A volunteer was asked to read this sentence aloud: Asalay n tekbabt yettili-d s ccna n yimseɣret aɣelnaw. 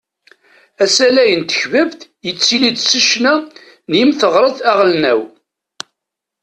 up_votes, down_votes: 1, 2